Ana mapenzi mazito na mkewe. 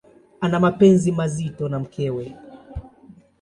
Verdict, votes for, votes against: accepted, 2, 0